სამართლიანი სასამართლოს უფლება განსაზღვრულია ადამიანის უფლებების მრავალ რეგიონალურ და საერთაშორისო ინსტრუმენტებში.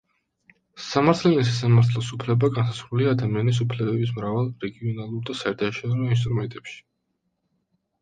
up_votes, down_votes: 1, 2